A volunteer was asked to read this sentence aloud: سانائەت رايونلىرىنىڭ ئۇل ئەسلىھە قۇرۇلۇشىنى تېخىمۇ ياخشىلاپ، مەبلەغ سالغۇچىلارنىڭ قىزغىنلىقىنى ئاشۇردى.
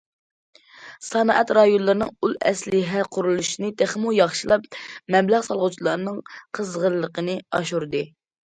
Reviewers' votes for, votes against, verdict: 2, 0, accepted